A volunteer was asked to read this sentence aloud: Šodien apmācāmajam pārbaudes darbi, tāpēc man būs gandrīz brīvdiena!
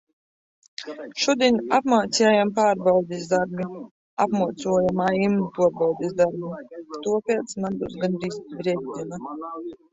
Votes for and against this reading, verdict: 0, 2, rejected